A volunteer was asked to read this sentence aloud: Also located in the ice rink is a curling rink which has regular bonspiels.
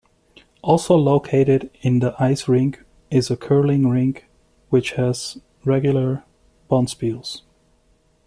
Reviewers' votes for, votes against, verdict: 2, 0, accepted